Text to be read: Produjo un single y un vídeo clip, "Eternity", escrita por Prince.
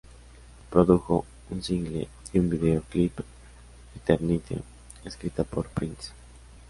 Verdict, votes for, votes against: accepted, 2, 0